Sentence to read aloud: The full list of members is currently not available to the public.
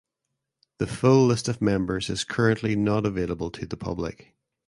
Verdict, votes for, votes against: accepted, 2, 0